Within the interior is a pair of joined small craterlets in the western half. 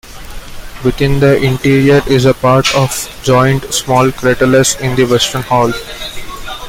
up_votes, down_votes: 2, 1